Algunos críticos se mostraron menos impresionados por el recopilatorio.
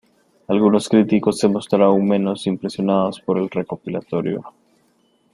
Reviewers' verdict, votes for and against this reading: accepted, 2, 0